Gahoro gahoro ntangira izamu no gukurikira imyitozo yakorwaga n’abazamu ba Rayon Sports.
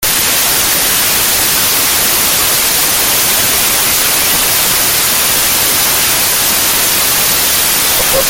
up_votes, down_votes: 0, 2